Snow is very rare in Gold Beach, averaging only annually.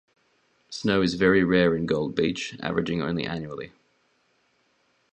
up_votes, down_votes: 2, 0